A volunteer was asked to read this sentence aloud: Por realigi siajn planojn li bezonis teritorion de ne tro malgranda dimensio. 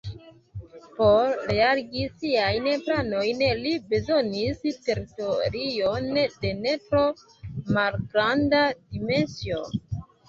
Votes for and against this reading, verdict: 0, 2, rejected